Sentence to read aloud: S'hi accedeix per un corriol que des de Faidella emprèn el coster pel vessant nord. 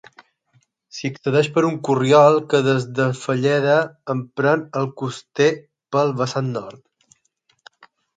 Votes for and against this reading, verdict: 0, 6, rejected